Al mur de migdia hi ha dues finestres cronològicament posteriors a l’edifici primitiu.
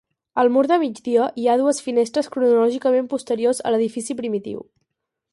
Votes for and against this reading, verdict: 4, 0, accepted